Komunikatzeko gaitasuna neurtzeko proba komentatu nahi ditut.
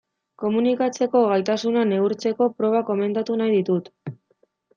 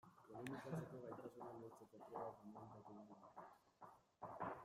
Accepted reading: first